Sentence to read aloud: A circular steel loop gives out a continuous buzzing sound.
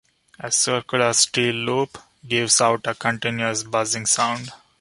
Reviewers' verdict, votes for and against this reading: accepted, 2, 0